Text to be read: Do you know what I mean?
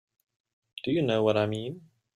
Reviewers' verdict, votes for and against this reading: accepted, 2, 0